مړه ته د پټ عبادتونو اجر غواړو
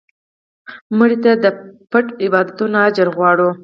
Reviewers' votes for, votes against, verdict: 2, 4, rejected